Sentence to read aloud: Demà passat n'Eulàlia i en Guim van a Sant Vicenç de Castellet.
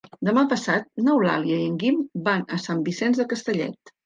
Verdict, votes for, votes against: accepted, 3, 0